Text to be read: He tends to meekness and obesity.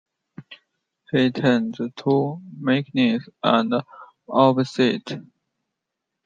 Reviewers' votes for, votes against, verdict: 0, 2, rejected